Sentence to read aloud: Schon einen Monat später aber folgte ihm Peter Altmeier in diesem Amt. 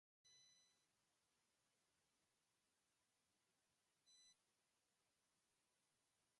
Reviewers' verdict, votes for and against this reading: rejected, 0, 2